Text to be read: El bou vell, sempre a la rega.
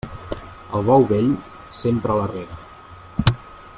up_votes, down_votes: 3, 0